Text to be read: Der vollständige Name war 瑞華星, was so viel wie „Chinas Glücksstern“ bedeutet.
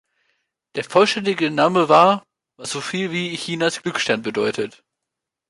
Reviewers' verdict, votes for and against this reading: rejected, 1, 2